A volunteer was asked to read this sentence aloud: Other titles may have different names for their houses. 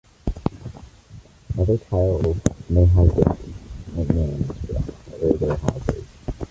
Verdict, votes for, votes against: rejected, 0, 2